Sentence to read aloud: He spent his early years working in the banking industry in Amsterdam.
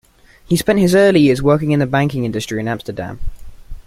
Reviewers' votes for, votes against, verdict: 2, 0, accepted